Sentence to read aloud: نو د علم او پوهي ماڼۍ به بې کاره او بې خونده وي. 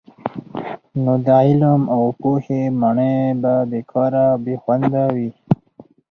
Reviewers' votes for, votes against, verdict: 4, 0, accepted